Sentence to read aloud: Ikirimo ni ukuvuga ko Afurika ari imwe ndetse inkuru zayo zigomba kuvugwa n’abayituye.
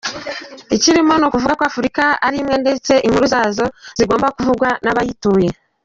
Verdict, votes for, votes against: rejected, 0, 2